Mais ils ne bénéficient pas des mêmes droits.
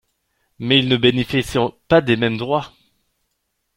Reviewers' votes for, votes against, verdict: 0, 2, rejected